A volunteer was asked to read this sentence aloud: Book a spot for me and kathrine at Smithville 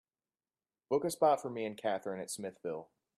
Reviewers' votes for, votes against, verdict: 2, 0, accepted